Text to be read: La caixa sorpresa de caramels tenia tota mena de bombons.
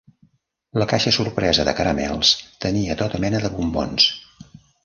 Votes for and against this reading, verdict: 0, 2, rejected